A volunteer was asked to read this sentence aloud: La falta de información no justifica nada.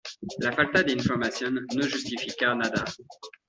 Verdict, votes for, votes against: rejected, 0, 2